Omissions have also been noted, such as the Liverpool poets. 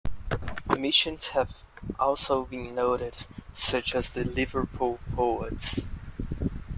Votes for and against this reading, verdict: 2, 0, accepted